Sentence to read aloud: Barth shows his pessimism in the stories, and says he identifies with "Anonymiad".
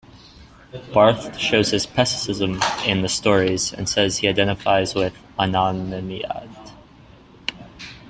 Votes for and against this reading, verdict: 1, 2, rejected